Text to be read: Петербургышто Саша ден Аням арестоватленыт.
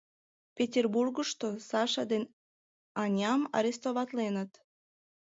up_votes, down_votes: 2, 0